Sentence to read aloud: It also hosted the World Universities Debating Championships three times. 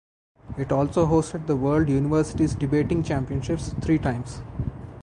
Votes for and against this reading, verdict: 4, 0, accepted